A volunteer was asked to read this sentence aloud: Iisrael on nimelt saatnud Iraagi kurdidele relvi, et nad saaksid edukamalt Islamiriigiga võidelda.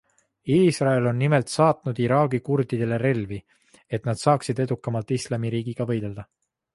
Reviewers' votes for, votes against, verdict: 2, 0, accepted